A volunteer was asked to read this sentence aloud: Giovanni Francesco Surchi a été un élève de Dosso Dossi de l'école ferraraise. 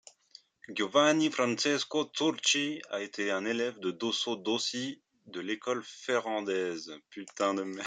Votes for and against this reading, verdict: 0, 2, rejected